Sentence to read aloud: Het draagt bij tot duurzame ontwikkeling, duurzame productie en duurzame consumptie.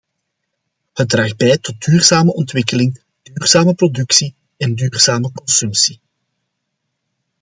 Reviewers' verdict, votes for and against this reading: accepted, 2, 0